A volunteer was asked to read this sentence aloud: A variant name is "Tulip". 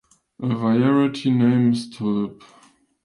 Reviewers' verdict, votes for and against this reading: rejected, 0, 2